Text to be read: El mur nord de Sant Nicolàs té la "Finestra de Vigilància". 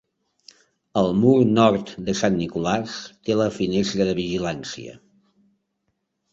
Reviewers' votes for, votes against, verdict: 1, 2, rejected